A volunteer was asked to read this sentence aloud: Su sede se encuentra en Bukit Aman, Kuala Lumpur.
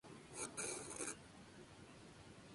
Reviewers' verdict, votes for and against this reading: rejected, 0, 2